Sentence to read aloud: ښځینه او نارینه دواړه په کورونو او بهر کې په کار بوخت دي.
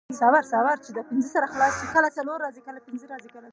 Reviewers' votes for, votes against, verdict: 0, 2, rejected